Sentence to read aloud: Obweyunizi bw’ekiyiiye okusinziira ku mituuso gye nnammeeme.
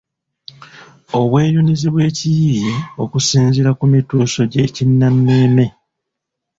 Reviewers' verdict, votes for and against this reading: rejected, 1, 2